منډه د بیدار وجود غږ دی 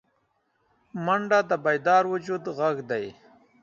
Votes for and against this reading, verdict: 7, 0, accepted